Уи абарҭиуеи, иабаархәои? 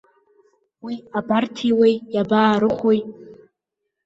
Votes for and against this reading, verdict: 1, 2, rejected